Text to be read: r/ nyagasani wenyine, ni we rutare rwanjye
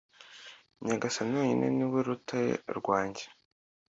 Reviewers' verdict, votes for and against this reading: accepted, 2, 0